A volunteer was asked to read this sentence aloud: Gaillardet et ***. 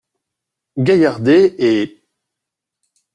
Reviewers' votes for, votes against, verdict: 1, 2, rejected